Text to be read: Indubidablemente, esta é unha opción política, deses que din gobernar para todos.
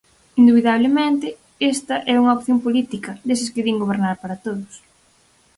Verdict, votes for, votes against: accepted, 4, 0